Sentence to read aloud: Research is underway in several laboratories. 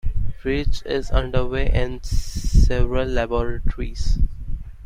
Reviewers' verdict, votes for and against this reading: rejected, 0, 2